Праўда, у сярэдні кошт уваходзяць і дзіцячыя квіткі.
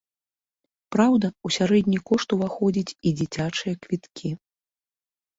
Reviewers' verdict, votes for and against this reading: accepted, 2, 0